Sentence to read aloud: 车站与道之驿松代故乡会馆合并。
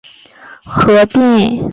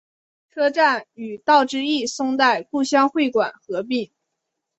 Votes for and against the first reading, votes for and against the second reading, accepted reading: 2, 6, 2, 0, second